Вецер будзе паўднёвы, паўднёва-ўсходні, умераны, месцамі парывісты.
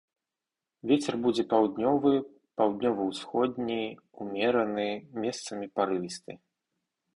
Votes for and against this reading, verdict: 2, 0, accepted